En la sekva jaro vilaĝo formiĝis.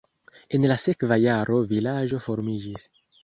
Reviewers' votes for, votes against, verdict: 2, 0, accepted